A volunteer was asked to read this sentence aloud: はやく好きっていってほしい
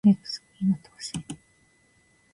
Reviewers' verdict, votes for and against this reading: rejected, 0, 2